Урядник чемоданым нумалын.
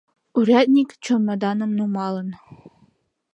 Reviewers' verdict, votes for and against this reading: rejected, 1, 4